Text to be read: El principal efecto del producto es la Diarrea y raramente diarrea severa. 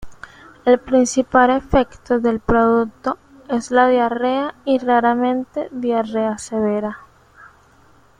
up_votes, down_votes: 2, 1